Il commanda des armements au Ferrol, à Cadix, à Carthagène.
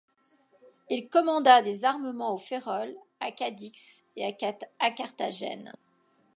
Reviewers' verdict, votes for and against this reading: rejected, 1, 2